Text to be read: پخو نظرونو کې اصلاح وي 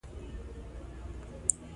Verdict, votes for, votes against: rejected, 1, 2